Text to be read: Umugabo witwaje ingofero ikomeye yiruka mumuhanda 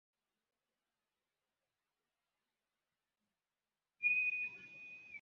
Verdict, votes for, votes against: rejected, 0, 2